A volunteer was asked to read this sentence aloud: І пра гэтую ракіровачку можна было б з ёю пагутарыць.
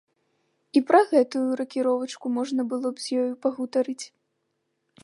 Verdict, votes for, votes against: accepted, 2, 0